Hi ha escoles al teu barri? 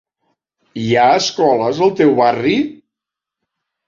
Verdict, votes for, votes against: accepted, 3, 0